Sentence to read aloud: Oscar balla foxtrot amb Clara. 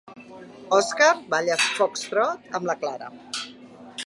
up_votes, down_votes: 0, 2